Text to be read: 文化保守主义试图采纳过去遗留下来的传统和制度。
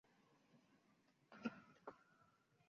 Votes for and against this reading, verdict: 0, 2, rejected